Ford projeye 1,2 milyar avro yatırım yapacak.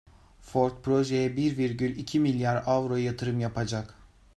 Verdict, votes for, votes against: rejected, 0, 2